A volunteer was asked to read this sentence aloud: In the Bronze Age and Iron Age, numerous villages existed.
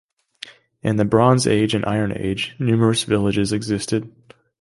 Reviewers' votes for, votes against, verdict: 2, 0, accepted